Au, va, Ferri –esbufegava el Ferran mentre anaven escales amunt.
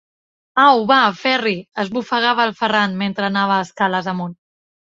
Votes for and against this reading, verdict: 0, 2, rejected